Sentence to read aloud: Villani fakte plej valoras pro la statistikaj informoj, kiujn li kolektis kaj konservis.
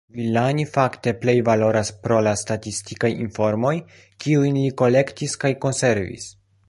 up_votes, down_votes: 0, 2